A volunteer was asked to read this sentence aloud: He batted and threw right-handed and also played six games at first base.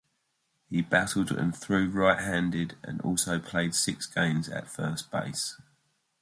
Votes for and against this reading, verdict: 2, 0, accepted